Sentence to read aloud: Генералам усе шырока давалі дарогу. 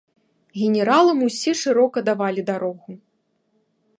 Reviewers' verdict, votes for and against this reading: accepted, 2, 1